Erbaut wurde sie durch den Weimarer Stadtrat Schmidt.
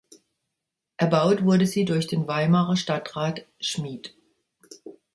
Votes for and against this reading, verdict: 0, 2, rejected